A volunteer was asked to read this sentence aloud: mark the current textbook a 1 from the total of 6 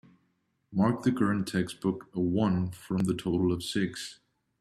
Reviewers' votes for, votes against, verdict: 0, 2, rejected